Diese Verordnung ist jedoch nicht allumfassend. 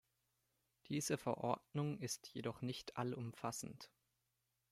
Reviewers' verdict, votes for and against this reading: accepted, 2, 0